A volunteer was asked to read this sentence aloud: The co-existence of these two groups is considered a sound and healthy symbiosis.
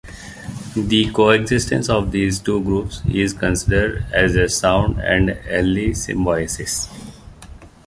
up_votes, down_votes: 0, 2